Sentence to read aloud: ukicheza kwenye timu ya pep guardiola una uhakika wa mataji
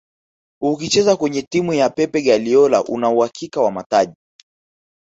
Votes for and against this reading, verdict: 1, 2, rejected